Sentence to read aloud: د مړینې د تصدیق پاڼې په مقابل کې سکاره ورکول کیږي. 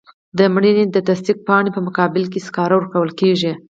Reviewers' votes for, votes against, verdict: 0, 2, rejected